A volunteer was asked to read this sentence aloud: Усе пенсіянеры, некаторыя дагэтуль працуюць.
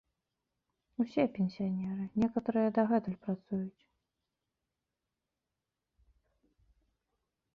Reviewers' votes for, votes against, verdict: 0, 2, rejected